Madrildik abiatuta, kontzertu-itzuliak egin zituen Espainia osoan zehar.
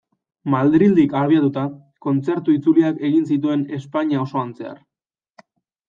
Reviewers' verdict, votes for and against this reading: accepted, 2, 0